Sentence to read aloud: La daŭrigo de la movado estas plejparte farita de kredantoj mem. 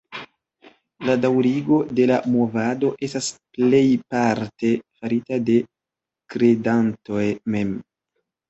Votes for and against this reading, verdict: 2, 1, accepted